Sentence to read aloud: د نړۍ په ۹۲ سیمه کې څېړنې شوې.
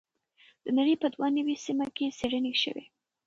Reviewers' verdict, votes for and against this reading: rejected, 0, 2